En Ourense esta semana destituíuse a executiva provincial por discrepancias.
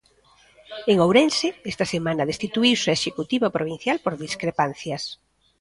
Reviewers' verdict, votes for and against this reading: accepted, 2, 1